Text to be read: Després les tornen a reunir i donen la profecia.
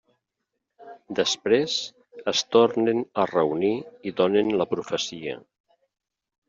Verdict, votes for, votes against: rejected, 1, 2